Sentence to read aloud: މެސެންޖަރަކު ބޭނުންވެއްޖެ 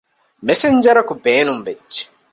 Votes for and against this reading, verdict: 2, 0, accepted